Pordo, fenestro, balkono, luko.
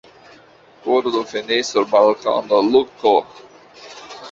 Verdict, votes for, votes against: rejected, 1, 2